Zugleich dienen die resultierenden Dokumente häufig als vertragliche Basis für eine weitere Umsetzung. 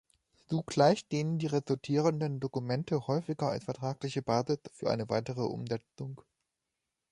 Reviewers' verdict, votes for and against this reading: rejected, 0, 2